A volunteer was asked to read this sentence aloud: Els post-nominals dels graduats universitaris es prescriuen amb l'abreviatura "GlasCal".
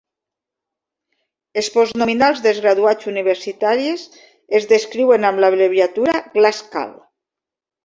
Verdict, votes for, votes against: rejected, 1, 3